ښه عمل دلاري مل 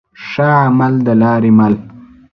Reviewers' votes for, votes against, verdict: 2, 0, accepted